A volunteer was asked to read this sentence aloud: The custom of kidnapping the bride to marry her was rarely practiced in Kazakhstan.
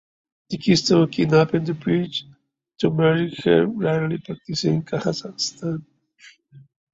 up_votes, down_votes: 1, 2